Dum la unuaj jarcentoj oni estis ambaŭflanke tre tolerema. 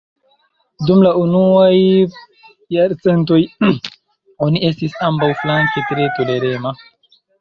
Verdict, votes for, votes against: rejected, 1, 2